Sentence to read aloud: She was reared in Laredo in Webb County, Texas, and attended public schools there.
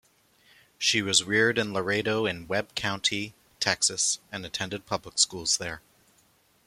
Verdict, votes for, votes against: accepted, 2, 0